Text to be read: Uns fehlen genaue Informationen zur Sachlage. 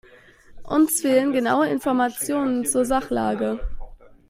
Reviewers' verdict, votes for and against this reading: accepted, 2, 0